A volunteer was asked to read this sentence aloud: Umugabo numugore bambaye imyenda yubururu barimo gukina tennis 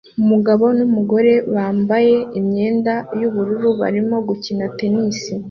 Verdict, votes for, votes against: accepted, 2, 0